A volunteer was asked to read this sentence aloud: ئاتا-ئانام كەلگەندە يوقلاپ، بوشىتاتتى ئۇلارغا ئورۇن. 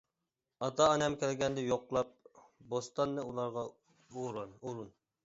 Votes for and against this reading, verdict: 0, 2, rejected